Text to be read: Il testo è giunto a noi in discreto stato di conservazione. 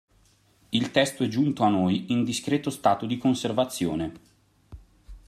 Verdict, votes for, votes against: accepted, 2, 0